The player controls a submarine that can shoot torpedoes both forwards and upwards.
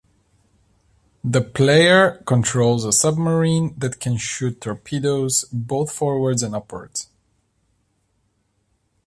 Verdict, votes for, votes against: accepted, 2, 0